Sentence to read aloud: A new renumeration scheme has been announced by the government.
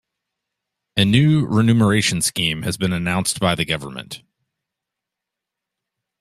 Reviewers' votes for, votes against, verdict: 3, 0, accepted